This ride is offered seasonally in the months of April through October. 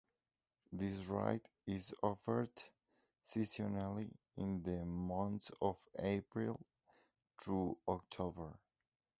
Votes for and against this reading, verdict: 3, 3, rejected